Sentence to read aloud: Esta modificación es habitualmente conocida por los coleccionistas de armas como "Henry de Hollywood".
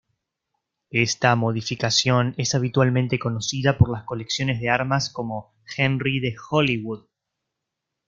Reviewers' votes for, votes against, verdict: 0, 2, rejected